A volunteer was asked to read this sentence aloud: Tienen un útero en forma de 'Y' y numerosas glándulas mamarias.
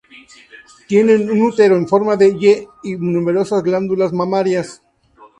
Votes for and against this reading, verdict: 0, 2, rejected